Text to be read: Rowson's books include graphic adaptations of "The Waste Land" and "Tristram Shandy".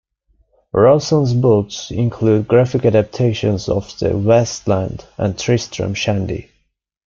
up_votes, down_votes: 2, 1